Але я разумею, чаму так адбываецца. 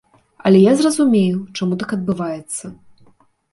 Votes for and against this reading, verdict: 0, 2, rejected